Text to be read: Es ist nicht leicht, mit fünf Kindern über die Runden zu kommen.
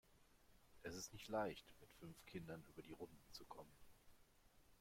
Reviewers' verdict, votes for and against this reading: rejected, 1, 2